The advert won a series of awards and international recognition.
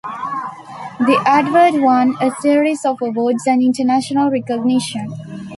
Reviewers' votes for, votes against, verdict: 2, 0, accepted